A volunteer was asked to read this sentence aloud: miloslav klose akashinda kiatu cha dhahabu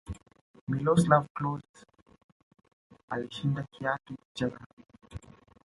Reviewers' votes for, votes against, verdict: 2, 3, rejected